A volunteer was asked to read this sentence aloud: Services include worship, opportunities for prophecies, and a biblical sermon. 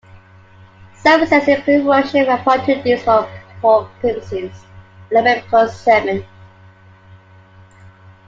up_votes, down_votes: 1, 2